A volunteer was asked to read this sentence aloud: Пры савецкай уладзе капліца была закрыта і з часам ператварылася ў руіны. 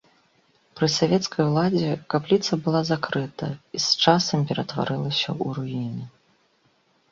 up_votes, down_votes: 2, 0